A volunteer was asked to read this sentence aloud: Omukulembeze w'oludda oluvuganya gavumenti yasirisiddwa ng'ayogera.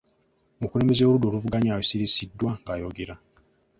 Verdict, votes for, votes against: rejected, 2, 3